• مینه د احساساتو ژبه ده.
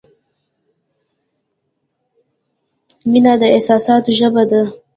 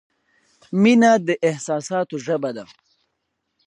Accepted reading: second